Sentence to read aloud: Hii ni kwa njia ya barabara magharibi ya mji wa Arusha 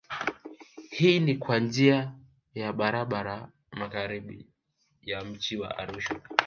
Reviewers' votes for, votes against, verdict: 2, 1, accepted